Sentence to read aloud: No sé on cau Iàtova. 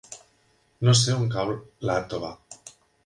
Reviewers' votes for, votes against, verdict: 2, 1, accepted